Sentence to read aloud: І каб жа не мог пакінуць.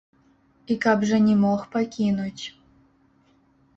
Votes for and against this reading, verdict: 0, 2, rejected